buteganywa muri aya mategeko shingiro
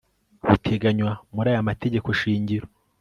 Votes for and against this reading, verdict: 4, 0, accepted